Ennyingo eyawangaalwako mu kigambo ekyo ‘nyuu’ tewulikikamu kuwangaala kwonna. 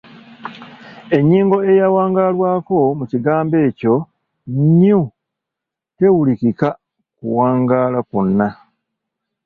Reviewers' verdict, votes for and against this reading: rejected, 0, 2